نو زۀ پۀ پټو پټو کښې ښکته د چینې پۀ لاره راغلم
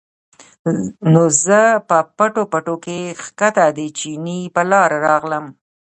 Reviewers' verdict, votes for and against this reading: rejected, 1, 2